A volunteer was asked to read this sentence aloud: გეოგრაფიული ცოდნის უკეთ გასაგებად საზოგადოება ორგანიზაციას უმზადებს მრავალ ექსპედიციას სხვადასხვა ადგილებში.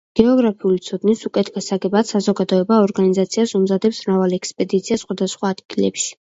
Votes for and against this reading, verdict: 2, 0, accepted